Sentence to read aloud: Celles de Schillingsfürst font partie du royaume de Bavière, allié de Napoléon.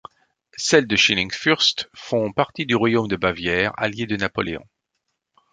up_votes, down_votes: 2, 0